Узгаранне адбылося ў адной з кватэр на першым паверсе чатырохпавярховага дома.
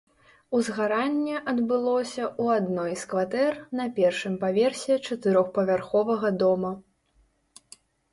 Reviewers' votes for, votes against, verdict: 2, 0, accepted